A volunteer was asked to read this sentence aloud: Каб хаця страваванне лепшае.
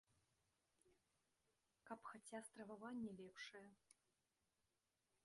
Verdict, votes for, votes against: rejected, 0, 2